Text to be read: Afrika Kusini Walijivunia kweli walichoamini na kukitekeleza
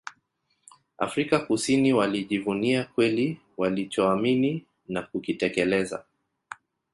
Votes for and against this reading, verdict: 2, 0, accepted